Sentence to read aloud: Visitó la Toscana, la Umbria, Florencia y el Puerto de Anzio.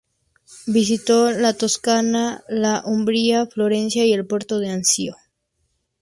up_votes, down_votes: 0, 2